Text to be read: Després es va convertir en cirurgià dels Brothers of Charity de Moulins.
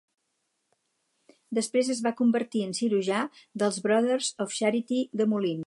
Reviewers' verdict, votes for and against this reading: rejected, 2, 2